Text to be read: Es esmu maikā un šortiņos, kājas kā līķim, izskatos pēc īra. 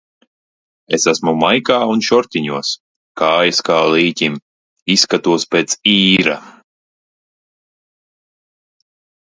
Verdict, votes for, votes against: accepted, 2, 0